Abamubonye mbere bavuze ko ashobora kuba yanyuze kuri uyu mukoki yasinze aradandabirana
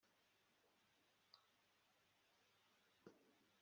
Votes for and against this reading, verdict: 0, 2, rejected